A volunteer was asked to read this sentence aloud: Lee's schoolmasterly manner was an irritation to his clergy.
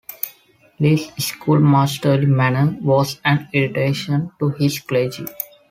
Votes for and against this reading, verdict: 2, 0, accepted